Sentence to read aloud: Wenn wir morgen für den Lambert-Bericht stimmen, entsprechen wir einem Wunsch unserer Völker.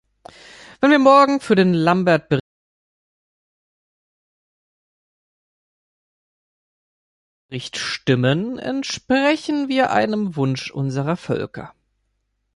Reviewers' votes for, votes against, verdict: 1, 3, rejected